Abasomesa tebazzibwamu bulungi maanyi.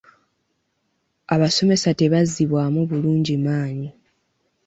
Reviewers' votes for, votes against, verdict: 2, 0, accepted